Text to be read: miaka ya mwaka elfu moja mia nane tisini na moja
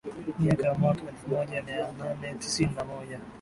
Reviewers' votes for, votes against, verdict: 14, 1, accepted